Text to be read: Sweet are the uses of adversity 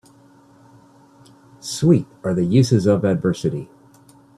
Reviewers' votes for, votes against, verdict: 2, 1, accepted